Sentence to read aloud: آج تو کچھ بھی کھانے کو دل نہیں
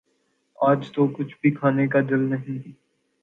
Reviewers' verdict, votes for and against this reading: accepted, 2, 1